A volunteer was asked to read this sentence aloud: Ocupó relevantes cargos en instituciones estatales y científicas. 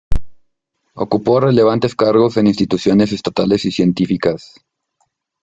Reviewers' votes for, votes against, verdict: 1, 2, rejected